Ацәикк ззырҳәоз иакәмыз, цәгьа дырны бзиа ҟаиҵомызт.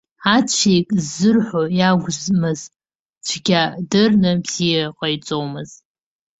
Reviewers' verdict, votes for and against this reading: rejected, 0, 2